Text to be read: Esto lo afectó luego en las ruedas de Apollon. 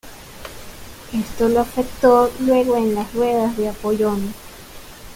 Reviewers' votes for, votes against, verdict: 0, 2, rejected